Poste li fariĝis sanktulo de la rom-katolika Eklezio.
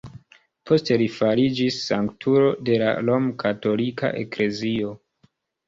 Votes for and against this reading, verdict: 2, 0, accepted